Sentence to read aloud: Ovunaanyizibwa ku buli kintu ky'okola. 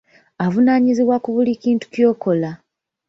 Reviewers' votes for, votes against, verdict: 1, 2, rejected